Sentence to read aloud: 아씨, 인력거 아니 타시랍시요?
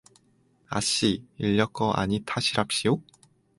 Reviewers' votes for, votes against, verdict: 4, 0, accepted